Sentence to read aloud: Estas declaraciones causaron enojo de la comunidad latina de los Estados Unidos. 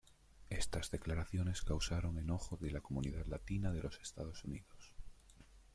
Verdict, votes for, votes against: rejected, 0, 2